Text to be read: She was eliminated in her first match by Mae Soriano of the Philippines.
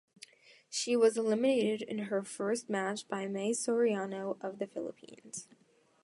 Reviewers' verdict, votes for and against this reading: accepted, 2, 0